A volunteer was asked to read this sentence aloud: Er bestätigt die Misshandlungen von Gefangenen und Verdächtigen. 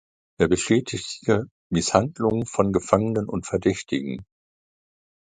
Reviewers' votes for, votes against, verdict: 0, 2, rejected